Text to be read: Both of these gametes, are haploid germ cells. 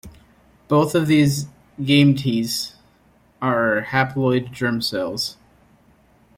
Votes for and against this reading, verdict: 1, 2, rejected